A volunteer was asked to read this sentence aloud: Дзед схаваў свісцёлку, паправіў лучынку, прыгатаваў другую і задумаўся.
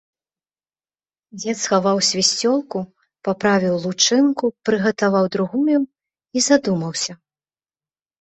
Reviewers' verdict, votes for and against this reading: accepted, 2, 0